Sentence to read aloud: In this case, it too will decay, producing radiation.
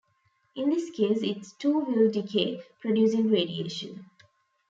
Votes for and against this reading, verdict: 0, 2, rejected